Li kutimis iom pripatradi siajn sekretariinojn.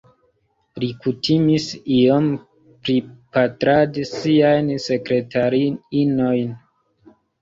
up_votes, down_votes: 1, 2